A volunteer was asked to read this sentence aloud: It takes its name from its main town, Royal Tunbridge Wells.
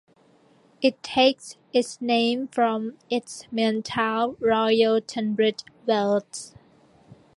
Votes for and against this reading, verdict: 2, 1, accepted